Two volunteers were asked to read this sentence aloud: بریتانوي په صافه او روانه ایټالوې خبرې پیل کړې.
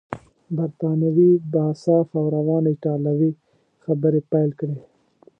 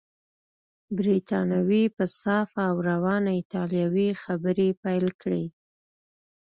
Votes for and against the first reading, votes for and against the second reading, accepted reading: 0, 2, 2, 0, second